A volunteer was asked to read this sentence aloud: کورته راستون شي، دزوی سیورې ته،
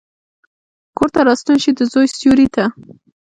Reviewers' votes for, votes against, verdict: 2, 0, accepted